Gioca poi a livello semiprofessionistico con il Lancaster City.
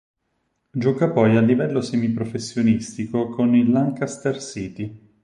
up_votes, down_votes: 6, 0